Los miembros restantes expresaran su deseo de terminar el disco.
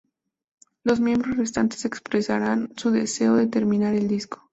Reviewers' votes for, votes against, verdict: 0, 2, rejected